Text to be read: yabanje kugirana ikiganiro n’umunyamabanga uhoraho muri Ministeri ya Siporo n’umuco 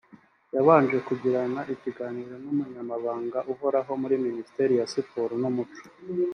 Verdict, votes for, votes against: accepted, 2, 0